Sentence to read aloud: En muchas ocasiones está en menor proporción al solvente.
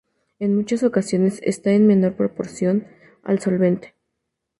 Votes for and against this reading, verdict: 2, 0, accepted